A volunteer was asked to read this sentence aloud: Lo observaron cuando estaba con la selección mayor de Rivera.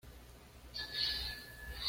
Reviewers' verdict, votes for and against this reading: rejected, 1, 2